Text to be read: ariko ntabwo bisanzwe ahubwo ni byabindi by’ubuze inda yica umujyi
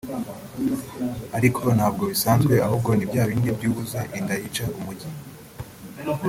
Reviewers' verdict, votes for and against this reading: rejected, 1, 2